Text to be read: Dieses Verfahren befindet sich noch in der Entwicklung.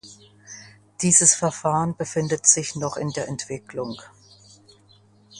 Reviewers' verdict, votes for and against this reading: accepted, 2, 0